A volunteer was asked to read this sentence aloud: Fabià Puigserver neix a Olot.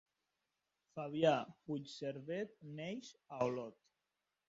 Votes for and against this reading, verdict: 2, 0, accepted